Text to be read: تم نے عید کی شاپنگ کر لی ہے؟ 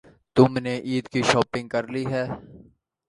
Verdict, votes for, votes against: accepted, 2, 0